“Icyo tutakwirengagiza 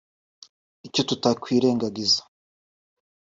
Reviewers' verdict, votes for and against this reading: accepted, 2, 0